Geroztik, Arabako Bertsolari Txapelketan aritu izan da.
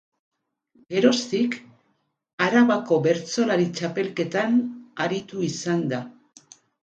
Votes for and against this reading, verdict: 8, 0, accepted